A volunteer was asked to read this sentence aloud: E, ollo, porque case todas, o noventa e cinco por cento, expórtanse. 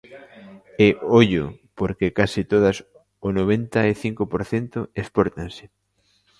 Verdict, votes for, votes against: rejected, 1, 2